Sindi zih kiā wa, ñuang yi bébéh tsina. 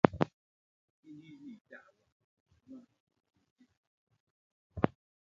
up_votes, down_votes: 0, 3